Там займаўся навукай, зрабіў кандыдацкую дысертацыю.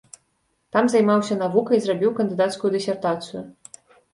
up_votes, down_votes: 2, 0